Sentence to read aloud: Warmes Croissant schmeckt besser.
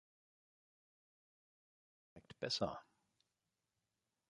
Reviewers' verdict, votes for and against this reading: rejected, 0, 3